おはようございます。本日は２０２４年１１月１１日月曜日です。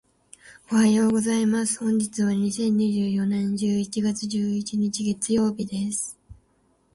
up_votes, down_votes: 0, 2